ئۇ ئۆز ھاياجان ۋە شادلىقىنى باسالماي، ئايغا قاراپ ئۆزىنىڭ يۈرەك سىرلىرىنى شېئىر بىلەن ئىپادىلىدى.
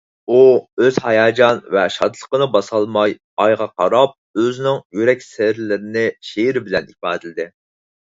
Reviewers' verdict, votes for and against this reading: accepted, 4, 0